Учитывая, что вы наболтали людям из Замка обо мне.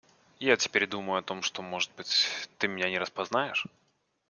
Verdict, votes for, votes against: rejected, 0, 2